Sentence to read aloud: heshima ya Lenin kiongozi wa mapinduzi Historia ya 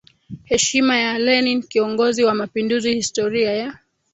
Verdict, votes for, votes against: accepted, 2, 0